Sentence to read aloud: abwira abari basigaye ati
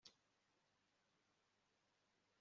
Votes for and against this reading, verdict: 2, 3, rejected